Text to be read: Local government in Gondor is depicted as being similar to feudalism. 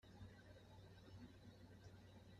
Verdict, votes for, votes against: rejected, 0, 2